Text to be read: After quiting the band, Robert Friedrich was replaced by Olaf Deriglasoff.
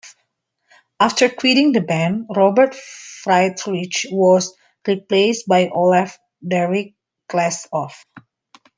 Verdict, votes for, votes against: rejected, 0, 2